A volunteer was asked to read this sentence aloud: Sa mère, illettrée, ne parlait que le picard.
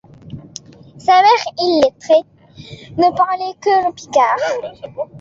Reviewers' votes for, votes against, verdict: 1, 2, rejected